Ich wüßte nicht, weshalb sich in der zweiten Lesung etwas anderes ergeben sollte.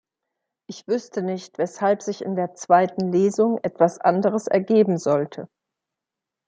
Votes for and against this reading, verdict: 2, 0, accepted